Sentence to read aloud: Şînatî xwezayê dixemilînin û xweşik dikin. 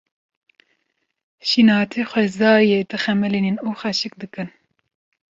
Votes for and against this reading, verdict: 1, 2, rejected